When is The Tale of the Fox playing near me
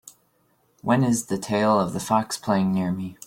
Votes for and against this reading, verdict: 2, 0, accepted